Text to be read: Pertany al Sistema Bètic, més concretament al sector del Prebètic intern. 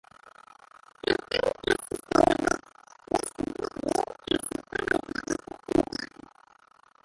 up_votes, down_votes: 0, 2